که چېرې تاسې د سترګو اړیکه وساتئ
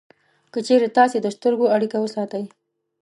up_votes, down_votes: 2, 0